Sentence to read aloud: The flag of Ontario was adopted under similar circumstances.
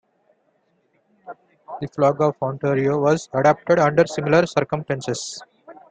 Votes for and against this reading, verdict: 2, 1, accepted